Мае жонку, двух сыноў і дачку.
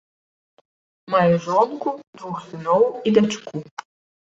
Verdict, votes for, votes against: accepted, 2, 0